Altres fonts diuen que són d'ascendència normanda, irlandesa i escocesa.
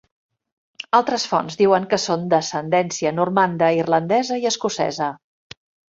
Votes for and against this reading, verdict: 3, 0, accepted